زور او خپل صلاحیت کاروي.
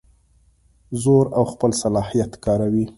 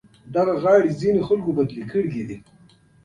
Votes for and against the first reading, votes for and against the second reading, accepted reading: 2, 0, 0, 2, first